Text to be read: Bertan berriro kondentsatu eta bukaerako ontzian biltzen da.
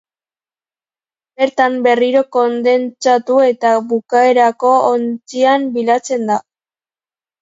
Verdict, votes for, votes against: rejected, 0, 3